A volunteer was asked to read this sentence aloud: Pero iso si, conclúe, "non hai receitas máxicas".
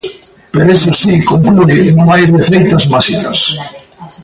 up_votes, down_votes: 1, 2